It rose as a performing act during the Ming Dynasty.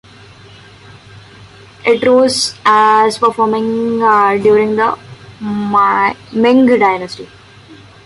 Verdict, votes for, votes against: rejected, 0, 2